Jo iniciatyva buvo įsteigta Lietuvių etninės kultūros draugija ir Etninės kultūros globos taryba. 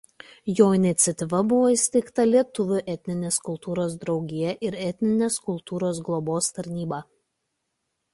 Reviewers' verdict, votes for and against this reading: rejected, 1, 2